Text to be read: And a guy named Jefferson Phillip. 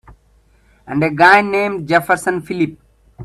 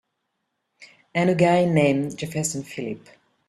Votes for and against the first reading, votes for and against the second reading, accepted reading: 2, 1, 1, 2, first